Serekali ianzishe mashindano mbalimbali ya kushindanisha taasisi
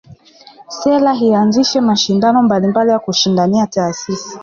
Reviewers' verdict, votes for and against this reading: accepted, 2, 0